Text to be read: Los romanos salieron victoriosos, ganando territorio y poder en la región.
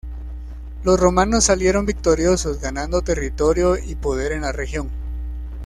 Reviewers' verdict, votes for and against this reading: accepted, 2, 0